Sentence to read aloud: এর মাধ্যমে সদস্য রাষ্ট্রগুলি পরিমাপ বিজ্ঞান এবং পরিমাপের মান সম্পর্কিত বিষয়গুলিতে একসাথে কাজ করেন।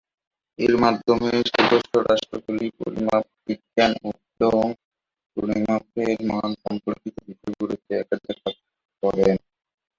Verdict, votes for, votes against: rejected, 0, 2